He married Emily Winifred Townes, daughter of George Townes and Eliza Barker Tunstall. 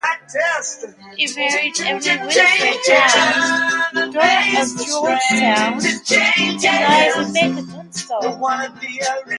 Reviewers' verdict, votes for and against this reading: rejected, 0, 2